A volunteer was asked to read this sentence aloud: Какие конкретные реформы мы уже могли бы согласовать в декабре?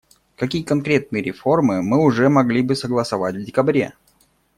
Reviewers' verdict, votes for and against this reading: accepted, 2, 0